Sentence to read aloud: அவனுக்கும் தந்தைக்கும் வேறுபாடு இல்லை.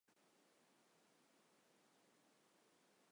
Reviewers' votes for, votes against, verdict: 1, 2, rejected